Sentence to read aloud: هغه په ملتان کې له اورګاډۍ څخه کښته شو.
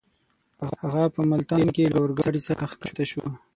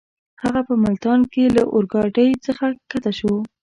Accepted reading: first